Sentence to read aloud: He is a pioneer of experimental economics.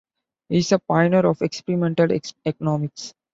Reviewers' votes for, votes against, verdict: 1, 3, rejected